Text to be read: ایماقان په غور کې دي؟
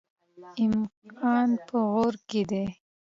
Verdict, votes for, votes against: accepted, 2, 0